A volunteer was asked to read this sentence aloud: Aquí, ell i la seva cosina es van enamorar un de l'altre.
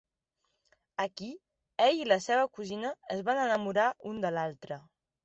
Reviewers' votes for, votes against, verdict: 3, 0, accepted